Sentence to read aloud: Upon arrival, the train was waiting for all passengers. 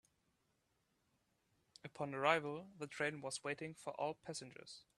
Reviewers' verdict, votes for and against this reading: rejected, 1, 2